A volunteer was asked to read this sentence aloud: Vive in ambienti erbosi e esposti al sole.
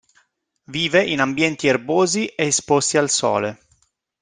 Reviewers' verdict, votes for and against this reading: accepted, 2, 0